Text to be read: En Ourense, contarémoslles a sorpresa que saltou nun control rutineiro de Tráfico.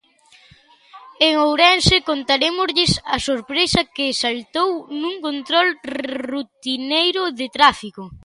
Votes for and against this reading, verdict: 2, 0, accepted